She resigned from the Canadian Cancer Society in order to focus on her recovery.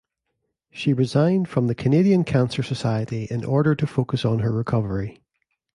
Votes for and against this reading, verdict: 2, 0, accepted